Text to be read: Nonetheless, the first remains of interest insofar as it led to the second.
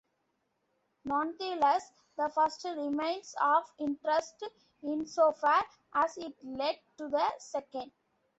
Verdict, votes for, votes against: rejected, 0, 2